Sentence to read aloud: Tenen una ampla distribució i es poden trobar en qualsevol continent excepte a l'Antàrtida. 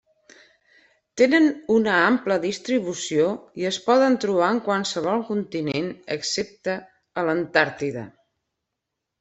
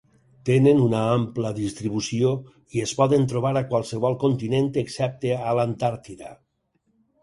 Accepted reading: first